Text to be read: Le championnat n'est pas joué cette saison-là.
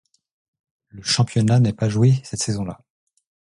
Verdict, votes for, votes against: accepted, 2, 0